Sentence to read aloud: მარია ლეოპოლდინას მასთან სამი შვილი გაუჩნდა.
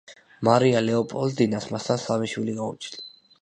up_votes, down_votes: 2, 0